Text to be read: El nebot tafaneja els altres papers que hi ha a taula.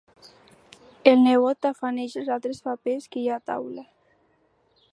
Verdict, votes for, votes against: accepted, 2, 0